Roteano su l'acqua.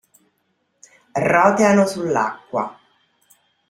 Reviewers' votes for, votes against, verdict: 2, 0, accepted